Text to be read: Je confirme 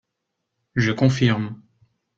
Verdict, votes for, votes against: accepted, 3, 0